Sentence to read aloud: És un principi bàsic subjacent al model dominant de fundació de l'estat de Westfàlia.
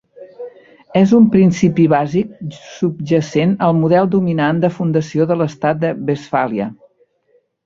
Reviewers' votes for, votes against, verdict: 1, 2, rejected